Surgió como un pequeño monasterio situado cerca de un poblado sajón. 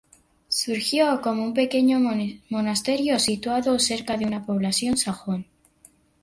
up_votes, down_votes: 2, 0